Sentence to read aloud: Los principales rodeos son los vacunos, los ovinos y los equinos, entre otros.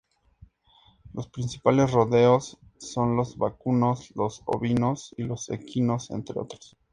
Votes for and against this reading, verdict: 2, 0, accepted